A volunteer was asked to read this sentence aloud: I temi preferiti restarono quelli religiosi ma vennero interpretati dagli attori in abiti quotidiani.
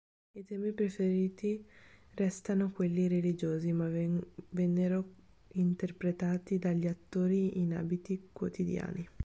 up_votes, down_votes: 1, 3